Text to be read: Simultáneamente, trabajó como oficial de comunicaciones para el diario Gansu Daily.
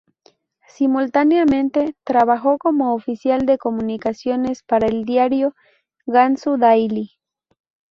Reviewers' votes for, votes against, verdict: 6, 0, accepted